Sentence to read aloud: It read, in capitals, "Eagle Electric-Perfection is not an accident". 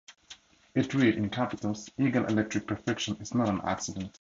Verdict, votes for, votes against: accepted, 2, 0